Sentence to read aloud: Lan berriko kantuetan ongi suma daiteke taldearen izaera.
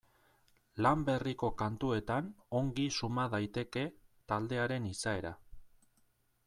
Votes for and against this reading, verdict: 2, 0, accepted